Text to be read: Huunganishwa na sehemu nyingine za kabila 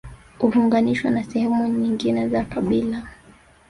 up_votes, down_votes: 0, 2